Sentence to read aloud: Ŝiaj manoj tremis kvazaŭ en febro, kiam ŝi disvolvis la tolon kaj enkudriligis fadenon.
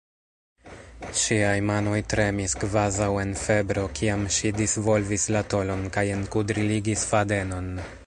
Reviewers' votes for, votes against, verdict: 0, 2, rejected